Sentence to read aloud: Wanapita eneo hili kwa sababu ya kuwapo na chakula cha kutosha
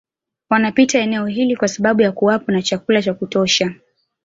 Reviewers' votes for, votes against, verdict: 2, 1, accepted